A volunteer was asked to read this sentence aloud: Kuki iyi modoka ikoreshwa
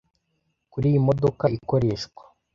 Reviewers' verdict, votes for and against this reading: rejected, 1, 2